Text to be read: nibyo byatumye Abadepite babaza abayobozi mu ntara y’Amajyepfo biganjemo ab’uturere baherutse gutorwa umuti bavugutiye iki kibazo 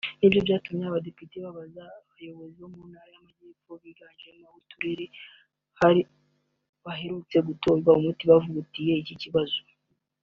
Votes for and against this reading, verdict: 0, 3, rejected